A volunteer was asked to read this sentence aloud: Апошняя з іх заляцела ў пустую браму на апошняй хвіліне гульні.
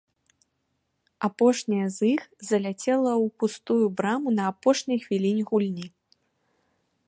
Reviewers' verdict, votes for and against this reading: accepted, 3, 0